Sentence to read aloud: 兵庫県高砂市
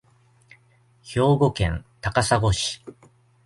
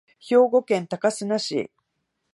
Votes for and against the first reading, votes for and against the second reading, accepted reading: 2, 0, 0, 2, first